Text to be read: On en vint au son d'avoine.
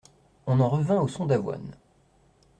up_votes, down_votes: 0, 2